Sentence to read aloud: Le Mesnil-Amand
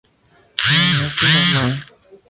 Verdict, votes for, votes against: rejected, 0, 2